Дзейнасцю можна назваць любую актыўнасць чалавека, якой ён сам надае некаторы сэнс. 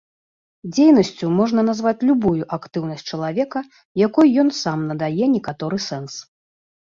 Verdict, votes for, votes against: accepted, 2, 0